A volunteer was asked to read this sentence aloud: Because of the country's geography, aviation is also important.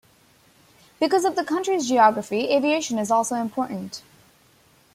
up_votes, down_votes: 2, 0